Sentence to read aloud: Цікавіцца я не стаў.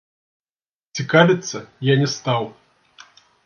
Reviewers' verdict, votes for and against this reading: rejected, 0, 2